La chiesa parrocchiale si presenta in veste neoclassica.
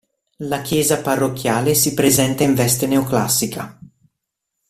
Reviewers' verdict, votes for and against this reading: accepted, 2, 0